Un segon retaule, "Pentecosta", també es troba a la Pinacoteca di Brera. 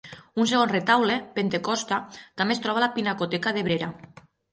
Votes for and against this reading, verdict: 3, 6, rejected